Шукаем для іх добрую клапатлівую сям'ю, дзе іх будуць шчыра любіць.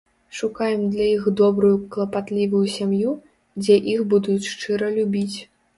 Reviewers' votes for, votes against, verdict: 2, 0, accepted